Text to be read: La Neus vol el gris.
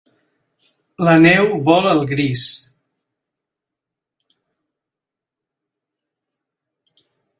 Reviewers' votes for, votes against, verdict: 0, 2, rejected